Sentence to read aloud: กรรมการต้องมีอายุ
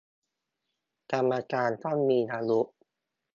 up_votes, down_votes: 2, 0